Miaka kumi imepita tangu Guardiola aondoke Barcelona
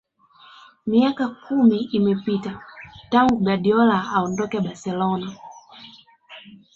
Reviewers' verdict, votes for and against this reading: rejected, 1, 3